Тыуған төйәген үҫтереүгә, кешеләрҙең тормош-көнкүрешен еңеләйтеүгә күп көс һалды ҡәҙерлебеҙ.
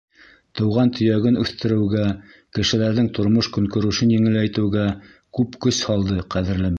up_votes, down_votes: 1, 2